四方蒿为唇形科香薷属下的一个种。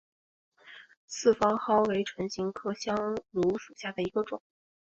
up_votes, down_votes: 2, 0